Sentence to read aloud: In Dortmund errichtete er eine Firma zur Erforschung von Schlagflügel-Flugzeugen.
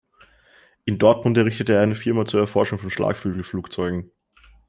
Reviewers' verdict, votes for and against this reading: accepted, 2, 0